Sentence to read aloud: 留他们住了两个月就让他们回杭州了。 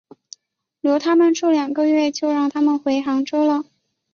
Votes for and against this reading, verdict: 2, 0, accepted